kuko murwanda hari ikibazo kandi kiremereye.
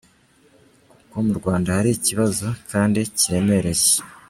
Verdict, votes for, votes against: accepted, 2, 1